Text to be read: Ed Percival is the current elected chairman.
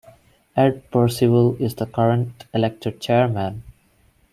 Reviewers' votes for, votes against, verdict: 2, 0, accepted